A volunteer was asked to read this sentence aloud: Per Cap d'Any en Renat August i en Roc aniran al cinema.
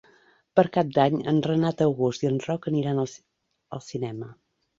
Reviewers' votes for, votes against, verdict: 0, 2, rejected